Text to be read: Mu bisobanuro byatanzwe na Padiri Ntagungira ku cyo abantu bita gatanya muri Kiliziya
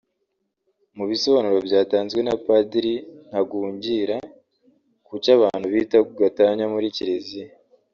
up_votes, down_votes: 3, 0